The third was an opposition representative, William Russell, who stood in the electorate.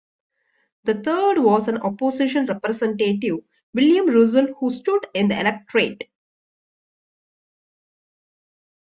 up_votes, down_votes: 1, 2